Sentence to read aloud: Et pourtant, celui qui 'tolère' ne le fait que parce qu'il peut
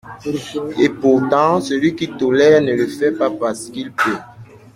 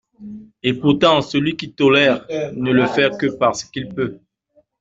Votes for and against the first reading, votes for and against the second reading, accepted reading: 0, 2, 3, 0, second